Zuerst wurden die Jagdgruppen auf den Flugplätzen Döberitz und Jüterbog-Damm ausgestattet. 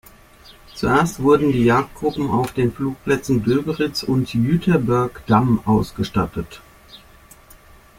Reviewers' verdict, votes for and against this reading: rejected, 1, 2